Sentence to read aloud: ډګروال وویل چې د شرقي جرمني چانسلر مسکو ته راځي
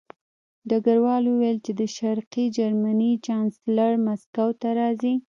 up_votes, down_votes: 1, 2